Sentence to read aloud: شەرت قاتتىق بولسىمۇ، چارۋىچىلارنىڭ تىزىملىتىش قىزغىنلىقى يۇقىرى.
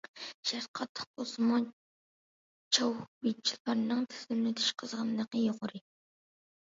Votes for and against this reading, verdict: 0, 2, rejected